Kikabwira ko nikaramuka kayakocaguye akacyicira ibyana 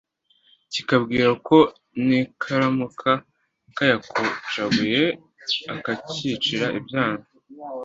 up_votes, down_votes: 2, 0